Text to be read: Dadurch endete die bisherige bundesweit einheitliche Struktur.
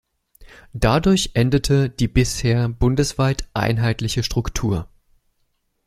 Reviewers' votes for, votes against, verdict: 0, 2, rejected